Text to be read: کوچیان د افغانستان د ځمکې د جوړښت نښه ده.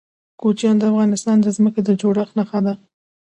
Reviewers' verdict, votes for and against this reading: accepted, 2, 1